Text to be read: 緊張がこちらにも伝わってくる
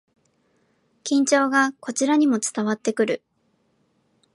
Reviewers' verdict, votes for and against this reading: rejected, 2, 3